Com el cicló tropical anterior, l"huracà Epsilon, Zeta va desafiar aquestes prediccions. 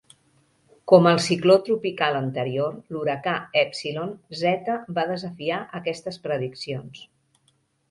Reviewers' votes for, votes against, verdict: 2, 0, accepted